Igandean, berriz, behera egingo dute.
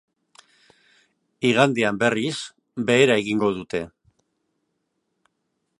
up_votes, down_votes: 4, 0